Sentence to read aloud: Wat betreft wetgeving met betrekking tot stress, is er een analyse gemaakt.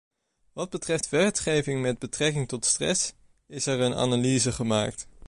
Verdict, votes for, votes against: rejected, 1, 2